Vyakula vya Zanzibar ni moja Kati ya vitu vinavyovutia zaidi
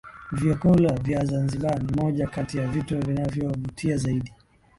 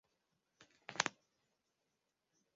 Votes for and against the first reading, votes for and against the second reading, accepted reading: 3, 0, 0, 2, first